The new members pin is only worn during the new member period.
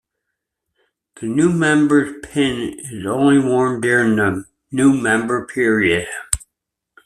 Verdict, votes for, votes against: accepted, 2, 1